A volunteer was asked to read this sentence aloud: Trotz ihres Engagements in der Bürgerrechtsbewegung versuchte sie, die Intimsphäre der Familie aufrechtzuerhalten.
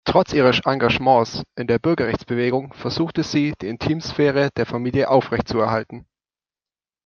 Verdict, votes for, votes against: rejected, 1, 2